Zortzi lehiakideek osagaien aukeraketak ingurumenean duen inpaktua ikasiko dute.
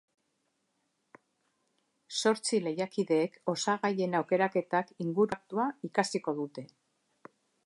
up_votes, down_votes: 0, 3